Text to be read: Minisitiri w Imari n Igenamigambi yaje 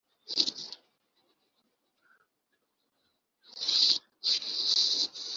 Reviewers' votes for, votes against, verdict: 0, 2, rejected